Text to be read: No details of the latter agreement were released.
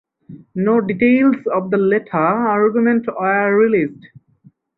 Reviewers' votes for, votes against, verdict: 0, 4, rejected